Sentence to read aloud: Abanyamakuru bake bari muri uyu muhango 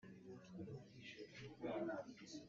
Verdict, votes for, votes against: rejected, 0, 2